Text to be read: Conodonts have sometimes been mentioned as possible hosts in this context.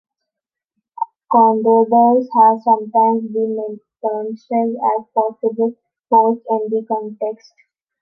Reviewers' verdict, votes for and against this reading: rejected, 0, 2